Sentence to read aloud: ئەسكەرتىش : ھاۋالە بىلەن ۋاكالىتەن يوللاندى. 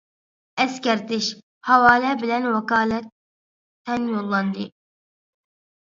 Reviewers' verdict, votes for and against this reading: rejected, 1, 2